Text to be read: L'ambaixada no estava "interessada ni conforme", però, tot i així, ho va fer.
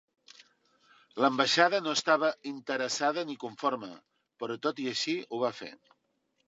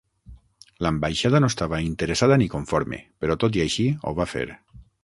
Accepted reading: first